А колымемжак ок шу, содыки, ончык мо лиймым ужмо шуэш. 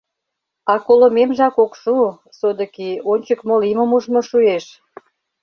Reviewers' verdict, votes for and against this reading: accepted, 2, 0